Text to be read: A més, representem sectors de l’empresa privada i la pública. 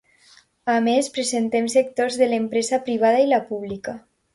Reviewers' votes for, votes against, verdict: 0, 2, rejected